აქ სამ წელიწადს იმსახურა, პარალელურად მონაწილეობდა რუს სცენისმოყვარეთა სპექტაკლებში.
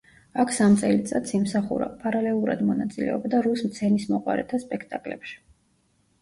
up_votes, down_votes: 1, 2